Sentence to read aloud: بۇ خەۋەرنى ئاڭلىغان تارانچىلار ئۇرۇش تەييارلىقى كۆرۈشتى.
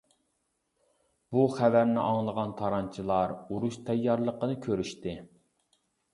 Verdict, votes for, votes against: rejected, 0, 2